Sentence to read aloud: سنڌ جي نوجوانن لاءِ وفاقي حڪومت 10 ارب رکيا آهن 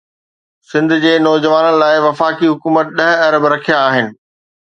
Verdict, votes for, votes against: rejected, 0, 2